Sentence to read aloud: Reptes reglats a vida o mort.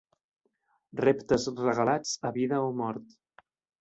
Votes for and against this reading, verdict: 1, 2, rejected